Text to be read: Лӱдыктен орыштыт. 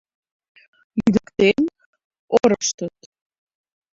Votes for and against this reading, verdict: 1, 2, rejected